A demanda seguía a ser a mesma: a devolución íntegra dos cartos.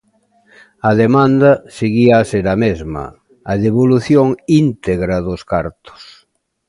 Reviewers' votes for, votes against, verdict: 2, 1, accepted